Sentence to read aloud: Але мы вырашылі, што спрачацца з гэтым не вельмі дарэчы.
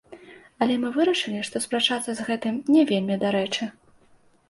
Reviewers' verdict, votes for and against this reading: accepted, 2, 0